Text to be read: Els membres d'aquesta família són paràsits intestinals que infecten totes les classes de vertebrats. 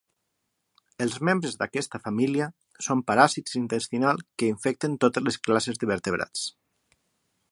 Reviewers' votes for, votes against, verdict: 6, 0, accepted